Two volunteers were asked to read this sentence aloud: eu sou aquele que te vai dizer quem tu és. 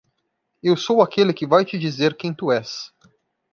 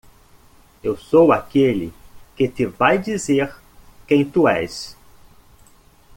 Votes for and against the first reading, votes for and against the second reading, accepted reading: 1, 2, 2, 0, second